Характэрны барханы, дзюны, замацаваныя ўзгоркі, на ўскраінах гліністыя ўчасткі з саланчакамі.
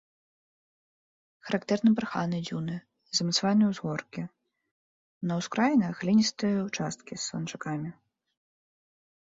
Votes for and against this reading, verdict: 3, 0, accepted